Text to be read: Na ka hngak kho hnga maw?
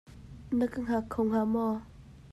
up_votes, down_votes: 2, 0